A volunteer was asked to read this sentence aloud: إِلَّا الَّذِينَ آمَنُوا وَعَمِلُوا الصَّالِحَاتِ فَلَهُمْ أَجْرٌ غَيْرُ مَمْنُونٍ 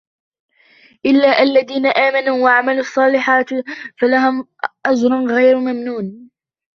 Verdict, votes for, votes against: rejected, 1, 2